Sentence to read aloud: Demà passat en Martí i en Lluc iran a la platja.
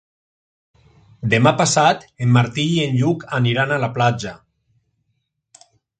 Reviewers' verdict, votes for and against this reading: rejected, 0, 2